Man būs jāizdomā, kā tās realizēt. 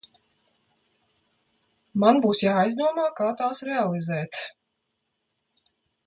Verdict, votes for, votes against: accepted, 2, 0